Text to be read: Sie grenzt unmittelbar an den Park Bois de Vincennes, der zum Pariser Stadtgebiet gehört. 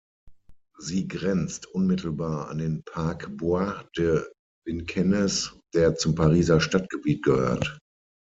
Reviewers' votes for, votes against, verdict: 0, 6, rejected